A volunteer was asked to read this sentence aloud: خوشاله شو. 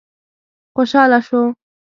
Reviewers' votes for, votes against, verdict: 3, 0, accepted